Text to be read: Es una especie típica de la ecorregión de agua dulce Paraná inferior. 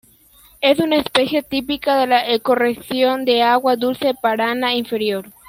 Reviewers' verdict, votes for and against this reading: rejected, 0, 2